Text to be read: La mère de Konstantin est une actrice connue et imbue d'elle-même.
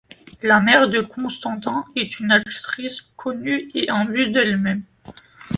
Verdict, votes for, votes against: accepted, 2, 0